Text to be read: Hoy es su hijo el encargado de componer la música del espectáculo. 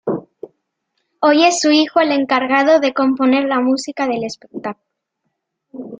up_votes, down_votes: 2, 0